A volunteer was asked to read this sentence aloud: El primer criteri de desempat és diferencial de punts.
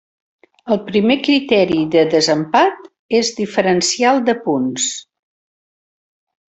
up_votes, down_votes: 3, 0